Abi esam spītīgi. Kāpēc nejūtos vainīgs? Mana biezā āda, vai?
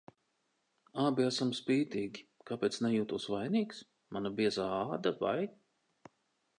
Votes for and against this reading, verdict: 2, 0, accepted